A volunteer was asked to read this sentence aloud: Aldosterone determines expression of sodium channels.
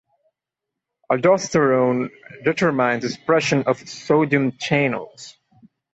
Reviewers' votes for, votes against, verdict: 0, 2, rejected